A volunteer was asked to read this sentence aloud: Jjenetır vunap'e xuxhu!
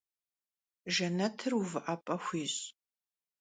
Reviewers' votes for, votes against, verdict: 0, 2, rejected